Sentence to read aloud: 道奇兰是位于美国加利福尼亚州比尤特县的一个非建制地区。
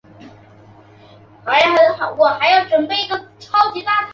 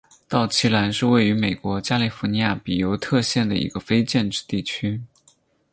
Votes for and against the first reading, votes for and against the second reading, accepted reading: 0, 4, 4, 0, second